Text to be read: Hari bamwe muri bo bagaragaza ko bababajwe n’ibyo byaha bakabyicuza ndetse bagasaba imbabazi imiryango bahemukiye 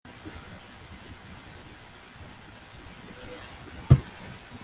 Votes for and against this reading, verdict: 0, 2, rejected